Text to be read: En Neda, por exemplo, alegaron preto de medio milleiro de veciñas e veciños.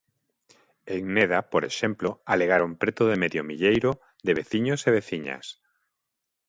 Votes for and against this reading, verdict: 0, 2, rejected